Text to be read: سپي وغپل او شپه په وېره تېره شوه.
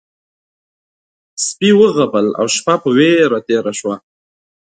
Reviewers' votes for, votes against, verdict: 2, 0, accepted